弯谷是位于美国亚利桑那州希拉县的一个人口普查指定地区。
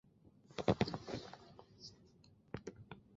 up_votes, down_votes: 0, 2